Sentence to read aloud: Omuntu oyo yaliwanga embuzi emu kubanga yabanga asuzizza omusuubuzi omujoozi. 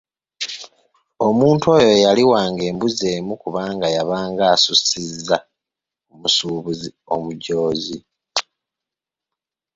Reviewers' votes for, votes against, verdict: 2, 0, accepted